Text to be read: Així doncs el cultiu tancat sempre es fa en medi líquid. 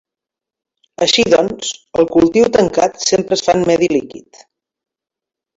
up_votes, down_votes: 2, 0